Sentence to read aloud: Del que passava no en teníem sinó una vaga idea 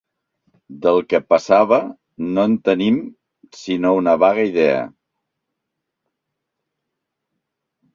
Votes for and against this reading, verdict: 1, 2, rejected